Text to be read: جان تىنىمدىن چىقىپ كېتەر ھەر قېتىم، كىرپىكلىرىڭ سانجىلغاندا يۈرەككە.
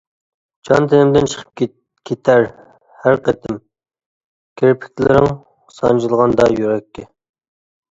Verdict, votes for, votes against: rejected, 1, 2